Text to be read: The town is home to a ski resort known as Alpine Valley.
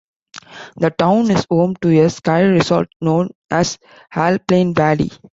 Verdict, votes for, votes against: rejected, 0, 2